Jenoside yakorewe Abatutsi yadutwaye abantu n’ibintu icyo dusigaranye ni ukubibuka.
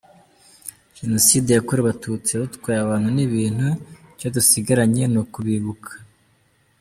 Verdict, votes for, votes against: accepted, 2, 1